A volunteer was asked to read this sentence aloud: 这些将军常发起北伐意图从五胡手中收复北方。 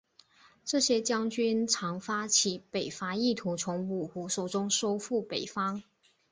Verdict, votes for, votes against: accepted, 4, 0